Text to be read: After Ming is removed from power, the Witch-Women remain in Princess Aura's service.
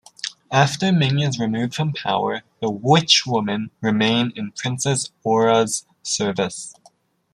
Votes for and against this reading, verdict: 2, 1, accepted